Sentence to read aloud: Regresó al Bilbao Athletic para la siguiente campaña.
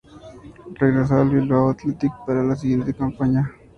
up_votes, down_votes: 2, 0